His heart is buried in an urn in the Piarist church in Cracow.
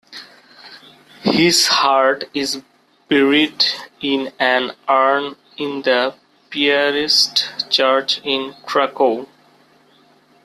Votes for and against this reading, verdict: 2, 0, accepted